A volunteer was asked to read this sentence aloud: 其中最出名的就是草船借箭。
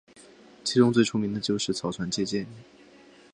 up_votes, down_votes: 2, 0